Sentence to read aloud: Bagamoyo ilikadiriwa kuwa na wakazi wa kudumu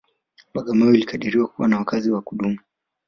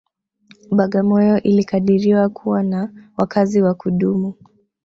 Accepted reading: first